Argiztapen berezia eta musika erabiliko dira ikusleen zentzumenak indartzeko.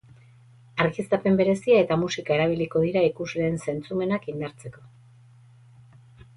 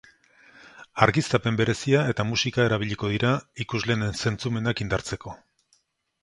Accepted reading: second